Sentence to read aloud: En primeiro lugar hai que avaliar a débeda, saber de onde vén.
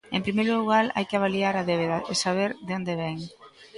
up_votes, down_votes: 2, 0